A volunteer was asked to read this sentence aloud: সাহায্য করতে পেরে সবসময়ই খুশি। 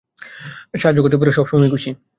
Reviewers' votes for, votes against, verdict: 2, 0, accepted